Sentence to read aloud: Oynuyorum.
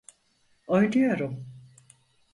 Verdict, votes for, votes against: accepted, 4, 0